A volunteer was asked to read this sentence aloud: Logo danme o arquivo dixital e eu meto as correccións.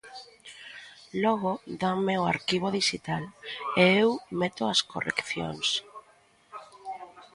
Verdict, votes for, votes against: rejected, 1, 2